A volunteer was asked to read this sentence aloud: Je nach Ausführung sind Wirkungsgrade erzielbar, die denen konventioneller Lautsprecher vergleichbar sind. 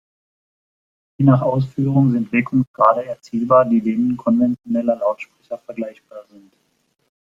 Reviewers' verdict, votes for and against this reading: accepted, 2, 1